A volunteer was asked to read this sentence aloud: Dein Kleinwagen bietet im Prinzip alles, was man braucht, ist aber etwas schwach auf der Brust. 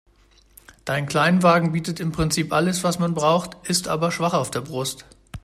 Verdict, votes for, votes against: rejected, 0, 2